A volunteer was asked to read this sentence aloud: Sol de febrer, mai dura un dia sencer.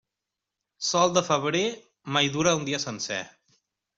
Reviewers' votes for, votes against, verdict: 3, 0, accepted